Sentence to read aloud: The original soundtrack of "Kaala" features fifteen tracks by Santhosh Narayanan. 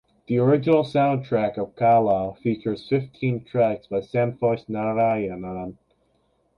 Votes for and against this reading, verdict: 2, 0, accepted